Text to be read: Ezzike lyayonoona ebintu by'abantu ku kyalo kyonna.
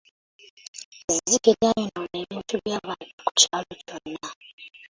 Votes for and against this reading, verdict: 2, 0, accepted